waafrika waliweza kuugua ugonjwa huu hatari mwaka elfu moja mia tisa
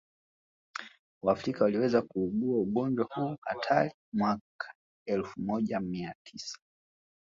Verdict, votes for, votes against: rejected, 1, 2